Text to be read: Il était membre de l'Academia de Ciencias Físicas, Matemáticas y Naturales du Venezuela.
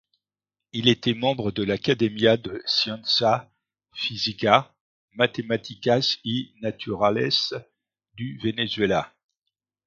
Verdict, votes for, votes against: rejected, 1, 2